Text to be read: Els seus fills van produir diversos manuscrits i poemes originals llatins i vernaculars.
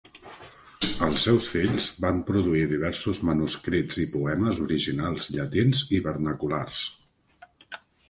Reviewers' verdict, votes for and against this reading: accepted, 3, 0